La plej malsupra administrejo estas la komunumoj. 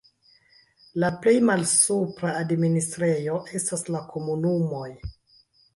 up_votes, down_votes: 2, 1